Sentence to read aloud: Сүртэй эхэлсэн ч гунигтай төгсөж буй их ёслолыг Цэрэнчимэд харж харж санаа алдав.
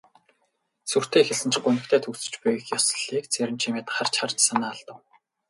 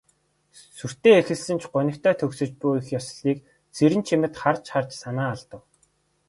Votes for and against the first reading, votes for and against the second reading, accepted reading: 2, 0, 1, 2, first